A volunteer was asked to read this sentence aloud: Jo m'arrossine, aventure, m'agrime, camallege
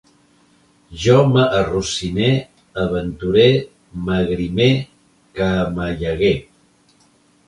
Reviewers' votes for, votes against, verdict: 1, 2, rejected